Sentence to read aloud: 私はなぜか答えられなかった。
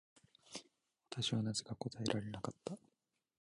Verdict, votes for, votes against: rejected, 1, 3